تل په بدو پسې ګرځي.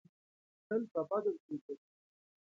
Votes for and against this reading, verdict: 2, 0, accepted